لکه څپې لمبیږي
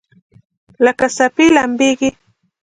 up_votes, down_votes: 2, 1